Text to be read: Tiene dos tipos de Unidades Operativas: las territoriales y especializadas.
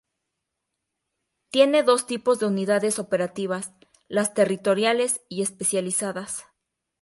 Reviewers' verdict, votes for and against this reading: accepted, 4, 0